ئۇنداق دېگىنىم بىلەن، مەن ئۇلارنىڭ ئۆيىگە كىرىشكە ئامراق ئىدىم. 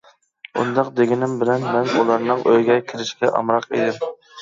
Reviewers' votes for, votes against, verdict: 1, 2, rejected